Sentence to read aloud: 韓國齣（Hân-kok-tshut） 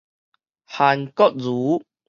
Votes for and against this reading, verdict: 2, 4, rejected